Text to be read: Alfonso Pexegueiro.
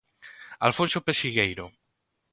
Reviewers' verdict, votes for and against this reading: accepted, 2, 0